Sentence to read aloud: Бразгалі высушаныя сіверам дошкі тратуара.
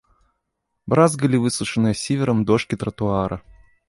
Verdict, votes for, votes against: rejected, 0, 2